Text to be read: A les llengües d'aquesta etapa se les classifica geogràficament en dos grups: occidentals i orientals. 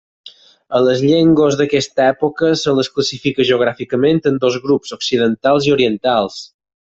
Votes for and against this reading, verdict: 0, 4, rejected